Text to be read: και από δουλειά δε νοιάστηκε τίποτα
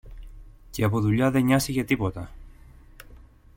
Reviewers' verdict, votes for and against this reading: accepted, 2, 0